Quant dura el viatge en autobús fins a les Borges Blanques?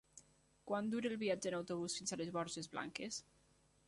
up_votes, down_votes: 3, 0